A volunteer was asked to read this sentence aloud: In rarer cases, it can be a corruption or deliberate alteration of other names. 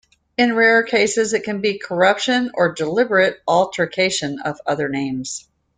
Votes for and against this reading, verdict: 1, 2, rejected